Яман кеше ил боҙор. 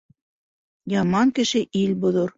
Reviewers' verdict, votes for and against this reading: accepted, 2, 0